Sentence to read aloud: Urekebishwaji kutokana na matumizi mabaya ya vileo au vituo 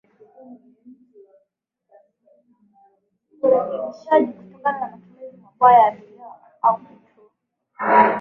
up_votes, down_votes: 0, 2